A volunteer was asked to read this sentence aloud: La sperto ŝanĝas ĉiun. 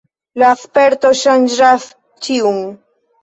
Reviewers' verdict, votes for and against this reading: accepted, 2, 0